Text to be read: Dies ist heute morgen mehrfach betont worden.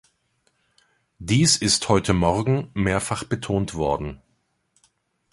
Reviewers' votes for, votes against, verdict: 2, 0, accepted